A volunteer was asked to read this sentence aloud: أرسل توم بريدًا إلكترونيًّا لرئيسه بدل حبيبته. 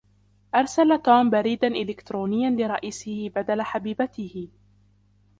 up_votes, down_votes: 2, 0